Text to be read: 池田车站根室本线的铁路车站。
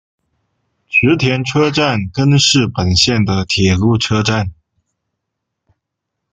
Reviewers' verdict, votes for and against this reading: accepted, 2, 0